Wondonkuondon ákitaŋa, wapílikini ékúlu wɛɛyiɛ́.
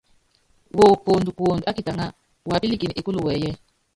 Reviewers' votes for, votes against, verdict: 0, 3, rejected